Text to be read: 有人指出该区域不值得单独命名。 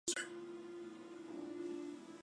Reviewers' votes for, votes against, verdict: 1, 2, rejected